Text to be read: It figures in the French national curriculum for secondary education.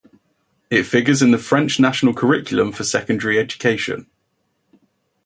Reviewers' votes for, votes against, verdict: 2, 0, accepted